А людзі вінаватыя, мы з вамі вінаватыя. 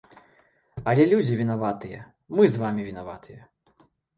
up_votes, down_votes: 1, 2